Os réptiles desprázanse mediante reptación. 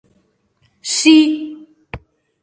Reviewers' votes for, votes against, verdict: 0, 2, rejected